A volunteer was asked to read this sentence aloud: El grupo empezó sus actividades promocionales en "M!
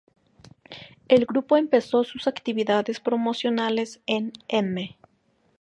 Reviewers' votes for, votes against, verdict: 2, 0, accepted